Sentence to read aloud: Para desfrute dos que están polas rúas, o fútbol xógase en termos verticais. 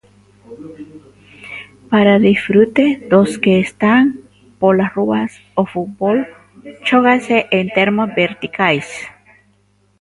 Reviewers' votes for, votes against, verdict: 1, 2, rejected